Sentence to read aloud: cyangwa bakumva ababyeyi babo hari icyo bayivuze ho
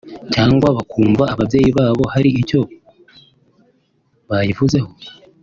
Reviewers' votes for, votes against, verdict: 3, 0, accepted